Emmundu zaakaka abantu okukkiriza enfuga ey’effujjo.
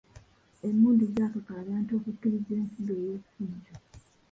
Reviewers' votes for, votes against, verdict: 0, 2, rejected